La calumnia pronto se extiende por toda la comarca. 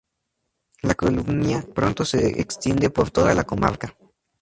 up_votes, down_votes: 0, 4